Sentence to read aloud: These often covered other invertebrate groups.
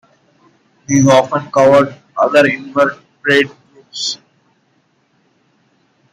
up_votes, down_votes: 1, 2